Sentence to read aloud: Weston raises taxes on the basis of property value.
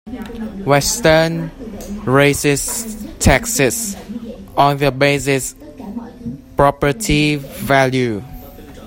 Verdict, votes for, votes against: rejected, 0, 2